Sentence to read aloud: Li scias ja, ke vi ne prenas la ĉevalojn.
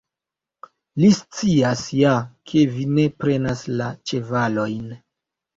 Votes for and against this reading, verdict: 2, 0, accepted